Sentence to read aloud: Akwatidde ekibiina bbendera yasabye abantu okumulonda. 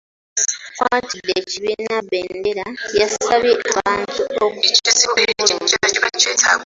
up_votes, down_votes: 0, 2